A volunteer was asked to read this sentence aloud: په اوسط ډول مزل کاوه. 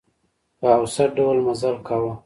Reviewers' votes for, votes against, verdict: 2, 0, accepted